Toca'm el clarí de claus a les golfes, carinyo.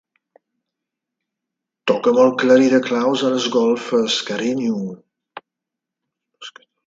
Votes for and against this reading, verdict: 2, 0, accepted